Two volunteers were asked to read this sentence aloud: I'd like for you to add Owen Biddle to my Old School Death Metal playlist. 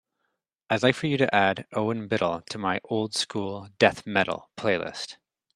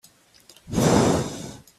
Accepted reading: first